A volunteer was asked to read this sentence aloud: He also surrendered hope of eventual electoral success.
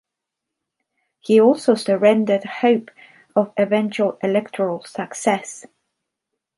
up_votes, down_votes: 2, 0